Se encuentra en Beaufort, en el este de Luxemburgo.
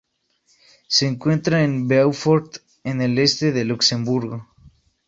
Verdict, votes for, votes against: rejected, 0, 2